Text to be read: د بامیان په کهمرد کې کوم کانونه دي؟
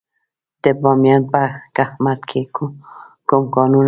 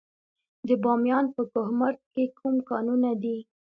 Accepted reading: second